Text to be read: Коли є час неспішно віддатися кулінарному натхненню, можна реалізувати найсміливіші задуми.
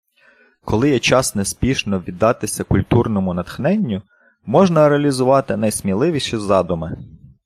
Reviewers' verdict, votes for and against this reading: rejected, 0, 2